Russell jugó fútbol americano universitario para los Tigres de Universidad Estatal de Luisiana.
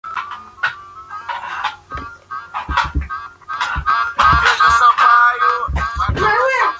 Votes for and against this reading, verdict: 0, 2, rejected